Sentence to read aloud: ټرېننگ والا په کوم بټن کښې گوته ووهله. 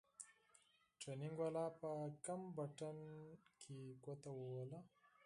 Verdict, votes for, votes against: accepted, 4, 0